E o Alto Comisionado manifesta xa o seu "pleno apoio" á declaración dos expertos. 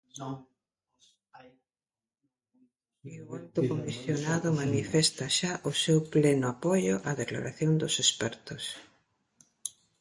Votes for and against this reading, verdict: 0, 2, rejected